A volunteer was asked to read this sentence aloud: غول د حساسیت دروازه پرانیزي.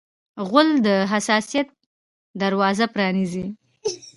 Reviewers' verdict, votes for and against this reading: accepted, 2, 0